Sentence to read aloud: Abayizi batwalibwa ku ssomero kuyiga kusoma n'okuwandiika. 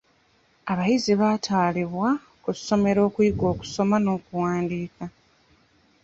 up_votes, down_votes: 1, 2